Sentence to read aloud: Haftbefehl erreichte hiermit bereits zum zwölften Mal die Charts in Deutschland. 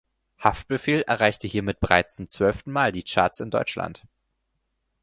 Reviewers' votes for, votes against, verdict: 4, 0, accepted